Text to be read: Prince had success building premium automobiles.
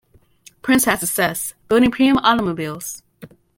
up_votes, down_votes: 0, 2